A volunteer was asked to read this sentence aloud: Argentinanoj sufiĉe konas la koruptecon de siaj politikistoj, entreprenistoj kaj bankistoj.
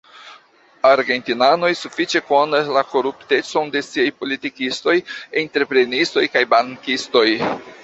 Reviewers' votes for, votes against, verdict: 2, 1, accepted